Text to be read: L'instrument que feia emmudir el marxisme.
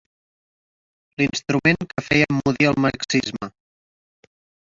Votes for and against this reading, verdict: 0, 2, rejected